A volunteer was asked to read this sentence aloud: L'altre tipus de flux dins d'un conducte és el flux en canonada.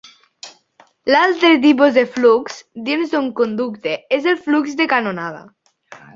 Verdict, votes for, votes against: rejected, 1, 2